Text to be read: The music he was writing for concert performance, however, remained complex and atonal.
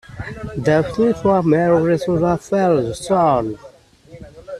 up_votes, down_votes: 0, 2